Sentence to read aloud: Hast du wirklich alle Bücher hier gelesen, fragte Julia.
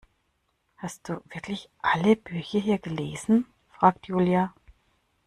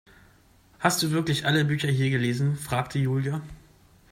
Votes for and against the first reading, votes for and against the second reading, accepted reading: 1, 2, 2, 0, second